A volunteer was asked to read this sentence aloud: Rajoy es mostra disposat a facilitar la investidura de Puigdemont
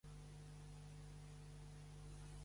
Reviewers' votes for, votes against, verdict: 1, 2, rejected